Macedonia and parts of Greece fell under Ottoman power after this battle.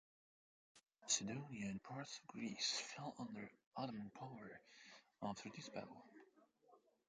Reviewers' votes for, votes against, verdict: 0, 3, rejected